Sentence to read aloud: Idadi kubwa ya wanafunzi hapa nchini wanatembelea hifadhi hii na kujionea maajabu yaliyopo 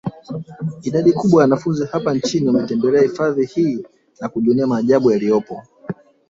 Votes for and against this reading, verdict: 3, 0, accepted